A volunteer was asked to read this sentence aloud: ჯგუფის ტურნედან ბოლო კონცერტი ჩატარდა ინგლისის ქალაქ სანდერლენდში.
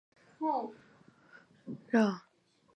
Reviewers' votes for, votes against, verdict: 0, 2, rejected